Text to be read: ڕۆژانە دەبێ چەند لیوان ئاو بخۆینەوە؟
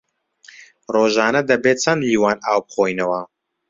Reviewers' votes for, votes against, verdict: 2, 0, accepted